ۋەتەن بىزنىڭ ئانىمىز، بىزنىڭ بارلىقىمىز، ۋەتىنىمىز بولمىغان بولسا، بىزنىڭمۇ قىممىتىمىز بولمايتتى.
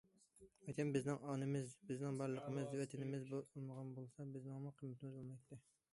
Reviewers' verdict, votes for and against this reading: rejected, 0, 2